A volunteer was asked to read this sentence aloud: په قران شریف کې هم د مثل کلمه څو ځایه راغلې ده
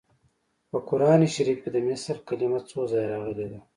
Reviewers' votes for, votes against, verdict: 2, 0, accepted